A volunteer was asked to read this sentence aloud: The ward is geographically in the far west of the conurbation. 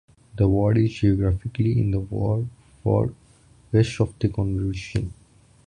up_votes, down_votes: 0, 2